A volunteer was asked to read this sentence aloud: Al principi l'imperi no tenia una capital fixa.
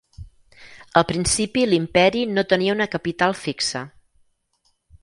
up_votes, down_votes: 6, 0